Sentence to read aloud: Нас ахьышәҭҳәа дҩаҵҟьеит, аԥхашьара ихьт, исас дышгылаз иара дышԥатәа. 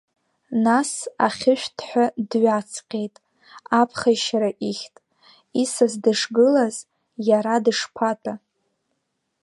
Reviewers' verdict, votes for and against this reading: rejected, 3, 4